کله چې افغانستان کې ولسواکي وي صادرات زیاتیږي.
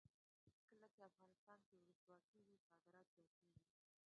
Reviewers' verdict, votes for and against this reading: rejected, 0, 2